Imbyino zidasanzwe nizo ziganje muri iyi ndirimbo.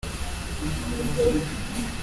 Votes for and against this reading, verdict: 0, 2, rejected